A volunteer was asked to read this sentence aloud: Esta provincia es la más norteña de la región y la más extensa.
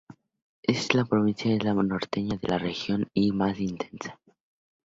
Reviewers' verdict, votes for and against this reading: rejected, 0, 2